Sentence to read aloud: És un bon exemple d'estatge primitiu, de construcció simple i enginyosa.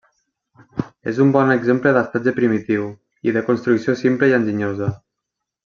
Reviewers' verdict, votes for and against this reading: rejected, 1, 2